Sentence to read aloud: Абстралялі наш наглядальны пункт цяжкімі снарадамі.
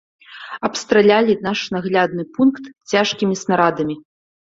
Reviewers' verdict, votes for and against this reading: accepted, 2, 1